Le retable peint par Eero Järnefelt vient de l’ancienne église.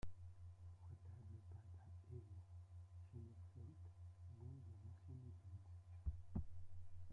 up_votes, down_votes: 0, 2